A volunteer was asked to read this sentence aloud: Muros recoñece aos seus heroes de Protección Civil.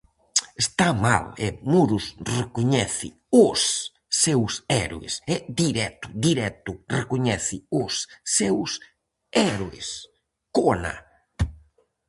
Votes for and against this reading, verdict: 0, 4, rejected